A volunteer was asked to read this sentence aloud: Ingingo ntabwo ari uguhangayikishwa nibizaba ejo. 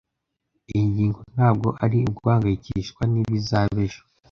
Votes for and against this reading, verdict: 1, 2, rejected